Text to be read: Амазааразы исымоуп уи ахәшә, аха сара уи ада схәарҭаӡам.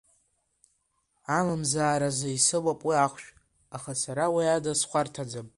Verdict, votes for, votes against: accepted, 2, 0